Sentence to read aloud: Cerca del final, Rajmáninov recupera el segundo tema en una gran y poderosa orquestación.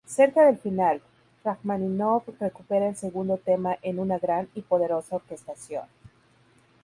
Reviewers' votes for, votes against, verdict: 2, 2, rejected